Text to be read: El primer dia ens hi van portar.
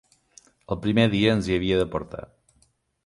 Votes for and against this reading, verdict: 0, 2, rejected